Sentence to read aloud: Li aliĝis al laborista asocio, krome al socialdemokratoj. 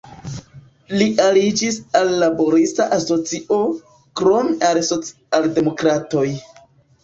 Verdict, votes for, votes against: rejected, 1, 2